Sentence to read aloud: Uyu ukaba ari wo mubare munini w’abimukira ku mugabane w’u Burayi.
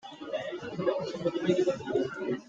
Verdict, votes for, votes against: rejected, 0, 2